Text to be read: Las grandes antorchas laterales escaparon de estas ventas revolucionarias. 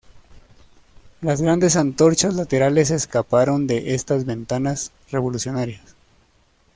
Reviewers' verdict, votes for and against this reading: rejected, 0, 2